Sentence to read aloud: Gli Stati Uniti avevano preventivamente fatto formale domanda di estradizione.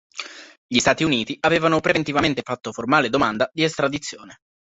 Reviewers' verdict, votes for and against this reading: accepted, 4, 0